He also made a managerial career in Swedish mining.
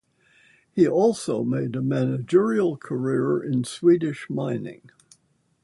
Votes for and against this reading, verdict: 2, 0, accepted